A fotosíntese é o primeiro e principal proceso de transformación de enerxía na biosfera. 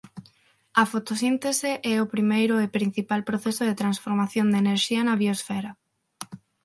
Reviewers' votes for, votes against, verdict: 6, 0, accepted